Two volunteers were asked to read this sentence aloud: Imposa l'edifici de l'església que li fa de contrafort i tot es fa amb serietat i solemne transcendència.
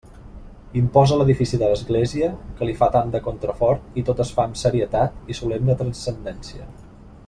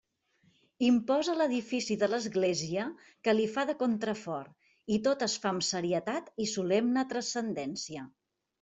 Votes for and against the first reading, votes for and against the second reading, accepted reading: 1, 2, 3, 0, second